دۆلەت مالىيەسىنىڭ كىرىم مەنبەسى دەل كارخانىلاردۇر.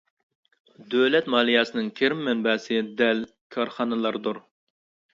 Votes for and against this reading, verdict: 2, 0, accepted